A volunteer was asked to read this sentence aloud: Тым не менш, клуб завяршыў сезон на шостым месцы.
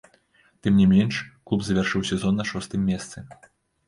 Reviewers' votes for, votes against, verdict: 3, 0, accepted